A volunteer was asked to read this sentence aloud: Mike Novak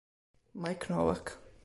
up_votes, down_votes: 2, 0